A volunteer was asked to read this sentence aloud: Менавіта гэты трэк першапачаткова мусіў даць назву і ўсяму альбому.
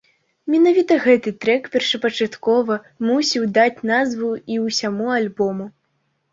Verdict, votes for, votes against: accepted, 2, 0